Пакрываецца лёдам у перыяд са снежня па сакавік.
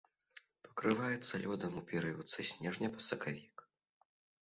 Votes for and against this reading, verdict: 1, 2, rejected